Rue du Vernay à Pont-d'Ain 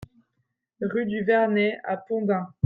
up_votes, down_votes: 2, 0